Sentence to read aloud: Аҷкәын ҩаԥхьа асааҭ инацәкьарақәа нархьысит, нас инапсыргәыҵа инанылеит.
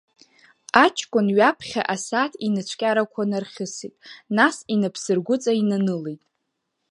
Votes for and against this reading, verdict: 1, 2, rejected